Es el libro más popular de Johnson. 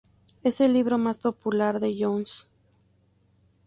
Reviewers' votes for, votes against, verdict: 2, 4, rejected